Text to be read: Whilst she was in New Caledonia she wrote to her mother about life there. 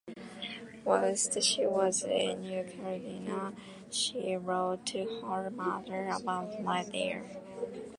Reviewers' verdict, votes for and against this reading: rejected, 1, 2